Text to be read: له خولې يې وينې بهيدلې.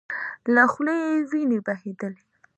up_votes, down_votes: 2, 0